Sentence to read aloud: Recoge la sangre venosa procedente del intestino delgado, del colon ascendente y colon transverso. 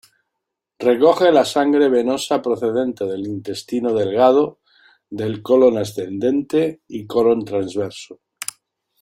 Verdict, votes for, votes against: accepted, 2, 0